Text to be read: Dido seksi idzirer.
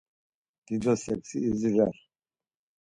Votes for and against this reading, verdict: 4, 0, accepted